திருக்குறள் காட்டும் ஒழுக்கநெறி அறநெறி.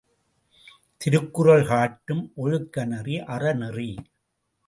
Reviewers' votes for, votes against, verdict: 2, 0, accepted